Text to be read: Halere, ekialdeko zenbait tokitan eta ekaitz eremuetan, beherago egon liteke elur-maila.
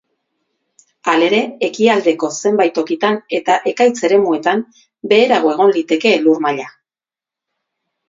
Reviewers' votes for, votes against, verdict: 2, 0, accepted